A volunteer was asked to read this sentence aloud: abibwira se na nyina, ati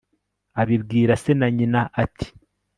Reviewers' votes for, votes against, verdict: 3, 0, accepted